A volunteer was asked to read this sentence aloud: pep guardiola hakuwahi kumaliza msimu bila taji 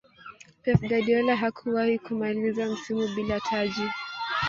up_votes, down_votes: 1, 3